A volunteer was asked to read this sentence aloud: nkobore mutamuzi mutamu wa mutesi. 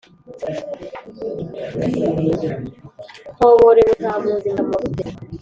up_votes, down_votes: 1, 2